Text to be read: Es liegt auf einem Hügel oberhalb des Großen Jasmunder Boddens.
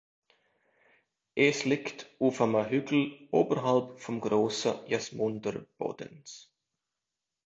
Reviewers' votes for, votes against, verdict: 0, 2, rejected